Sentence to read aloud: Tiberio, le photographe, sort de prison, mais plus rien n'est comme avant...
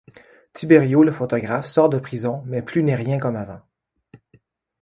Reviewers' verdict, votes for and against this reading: rejected, 1, 2